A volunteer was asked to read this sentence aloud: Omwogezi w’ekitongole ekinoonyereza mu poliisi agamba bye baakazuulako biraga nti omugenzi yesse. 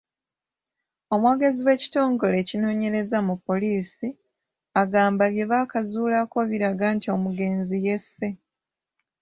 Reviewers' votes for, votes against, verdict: 2, 0, accepted